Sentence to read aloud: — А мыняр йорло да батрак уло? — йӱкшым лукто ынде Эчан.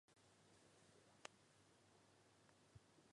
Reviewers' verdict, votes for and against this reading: rejected, 0, 2